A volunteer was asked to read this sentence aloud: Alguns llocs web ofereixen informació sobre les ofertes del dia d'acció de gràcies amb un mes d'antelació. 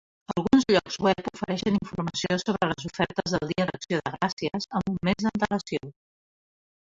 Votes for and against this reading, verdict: 2, 0, accepted